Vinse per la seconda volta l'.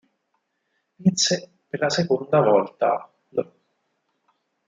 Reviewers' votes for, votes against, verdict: 4, 2, accepted